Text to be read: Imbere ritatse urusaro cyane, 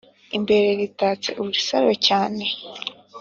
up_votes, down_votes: 2, 0